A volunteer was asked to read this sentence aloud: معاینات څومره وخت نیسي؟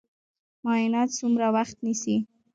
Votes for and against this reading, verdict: 0, 3, rejected